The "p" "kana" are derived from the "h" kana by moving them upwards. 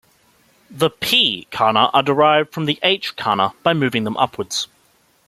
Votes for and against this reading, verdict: 2, 0, accepted